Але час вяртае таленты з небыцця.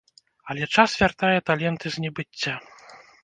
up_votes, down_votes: 0, 2